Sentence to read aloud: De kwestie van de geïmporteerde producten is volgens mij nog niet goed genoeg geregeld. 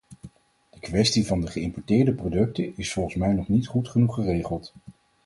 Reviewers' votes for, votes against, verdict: 2, 2, rejected